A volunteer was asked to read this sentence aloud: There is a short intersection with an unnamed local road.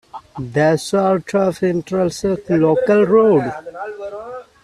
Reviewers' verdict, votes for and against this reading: rejected, 0, 2